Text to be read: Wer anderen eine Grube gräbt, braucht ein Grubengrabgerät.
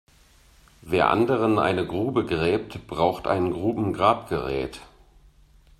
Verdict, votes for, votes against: accepted, 2, 0